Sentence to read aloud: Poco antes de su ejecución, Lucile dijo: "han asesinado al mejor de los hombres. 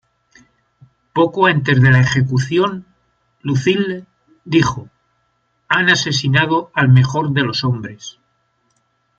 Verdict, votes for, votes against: rejected, 1, 2